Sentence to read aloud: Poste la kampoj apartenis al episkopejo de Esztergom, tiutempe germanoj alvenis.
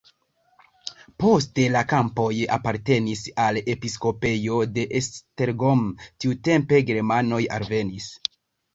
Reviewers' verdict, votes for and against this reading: accepted, 2, 0